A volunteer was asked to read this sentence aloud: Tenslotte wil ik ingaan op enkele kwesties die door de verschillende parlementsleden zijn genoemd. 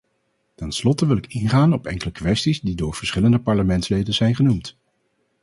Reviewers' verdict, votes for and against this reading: rejected, 0, 4